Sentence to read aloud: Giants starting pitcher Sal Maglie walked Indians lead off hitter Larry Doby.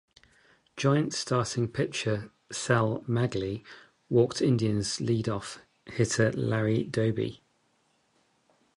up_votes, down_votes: 0, 2